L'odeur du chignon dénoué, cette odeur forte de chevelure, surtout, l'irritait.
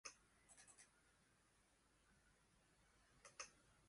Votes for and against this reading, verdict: 0, 2, rejected